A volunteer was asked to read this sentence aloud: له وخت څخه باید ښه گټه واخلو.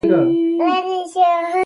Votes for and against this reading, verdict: 0, 2, rejected